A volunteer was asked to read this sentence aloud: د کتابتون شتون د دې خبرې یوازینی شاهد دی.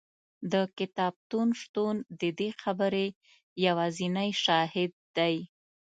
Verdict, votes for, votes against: accepted, 2, 0